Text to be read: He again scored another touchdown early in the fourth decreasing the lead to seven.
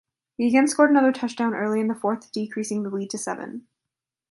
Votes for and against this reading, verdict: 2, 0, accepted